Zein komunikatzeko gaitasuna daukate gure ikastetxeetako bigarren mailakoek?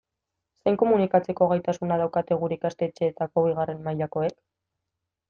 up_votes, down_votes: 2, 0